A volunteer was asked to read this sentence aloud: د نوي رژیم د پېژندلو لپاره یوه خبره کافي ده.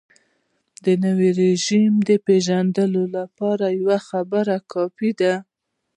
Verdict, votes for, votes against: rejected, 0, 2